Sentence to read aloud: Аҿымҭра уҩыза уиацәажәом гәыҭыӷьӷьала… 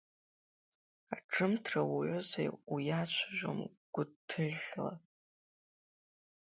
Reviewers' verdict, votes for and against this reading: rejected, 1, 2